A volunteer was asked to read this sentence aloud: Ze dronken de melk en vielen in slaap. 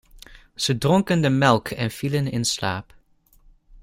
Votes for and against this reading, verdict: 2, 0, accepted